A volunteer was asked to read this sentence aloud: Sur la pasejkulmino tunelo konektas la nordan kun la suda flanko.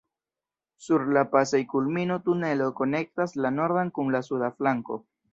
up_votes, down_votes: 1, 2